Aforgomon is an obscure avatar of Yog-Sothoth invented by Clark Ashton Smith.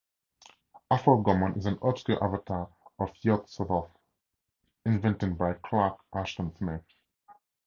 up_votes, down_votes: 2, 0